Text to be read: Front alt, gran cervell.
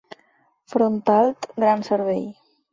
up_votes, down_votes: 8, 0